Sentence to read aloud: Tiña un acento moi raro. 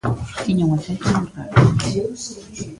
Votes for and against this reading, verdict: 1, 2, rejected